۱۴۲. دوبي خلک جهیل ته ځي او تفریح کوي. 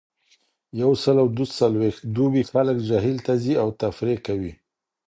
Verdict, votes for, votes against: rejected, 0, 2